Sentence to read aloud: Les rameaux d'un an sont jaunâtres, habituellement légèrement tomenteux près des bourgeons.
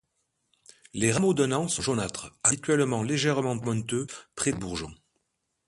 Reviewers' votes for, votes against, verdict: 1, 2, rejected